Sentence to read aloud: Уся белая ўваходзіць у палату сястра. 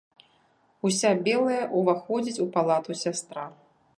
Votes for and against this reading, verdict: 2, 0, accepted